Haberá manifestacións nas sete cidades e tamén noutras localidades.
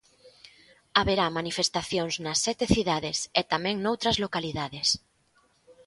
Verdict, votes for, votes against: accepted, 2, 0